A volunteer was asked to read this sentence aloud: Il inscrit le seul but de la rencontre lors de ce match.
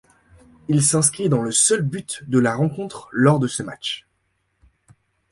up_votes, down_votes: 1, 2